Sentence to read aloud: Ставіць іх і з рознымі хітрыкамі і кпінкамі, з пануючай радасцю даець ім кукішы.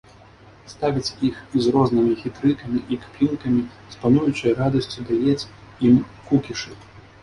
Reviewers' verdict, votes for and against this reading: rejected, 1, 2